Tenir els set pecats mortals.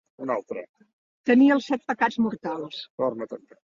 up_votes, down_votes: 1, 2